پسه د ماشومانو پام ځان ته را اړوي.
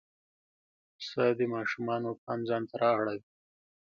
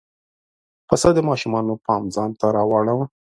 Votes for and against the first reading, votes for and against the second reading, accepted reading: 2, 0, 1, 2, first